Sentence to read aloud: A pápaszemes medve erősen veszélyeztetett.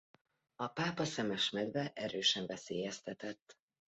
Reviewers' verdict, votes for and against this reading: accepted, 2, 0